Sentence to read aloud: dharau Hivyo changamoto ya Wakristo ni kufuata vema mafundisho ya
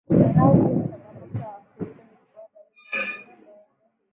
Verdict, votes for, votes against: rejected, 0, 2